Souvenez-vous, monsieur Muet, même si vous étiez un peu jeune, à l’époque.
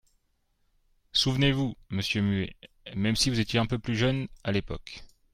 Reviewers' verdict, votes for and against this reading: rejected, 1, 3